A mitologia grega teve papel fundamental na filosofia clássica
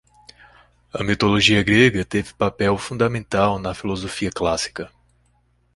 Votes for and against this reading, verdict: 2, 0, accepted